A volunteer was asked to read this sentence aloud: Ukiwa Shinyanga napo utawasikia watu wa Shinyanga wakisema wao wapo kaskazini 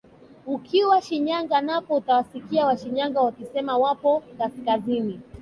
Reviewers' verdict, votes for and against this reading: accepted, 2, 1